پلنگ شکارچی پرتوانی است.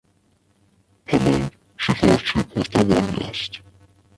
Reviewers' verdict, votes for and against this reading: rejected, 0, 2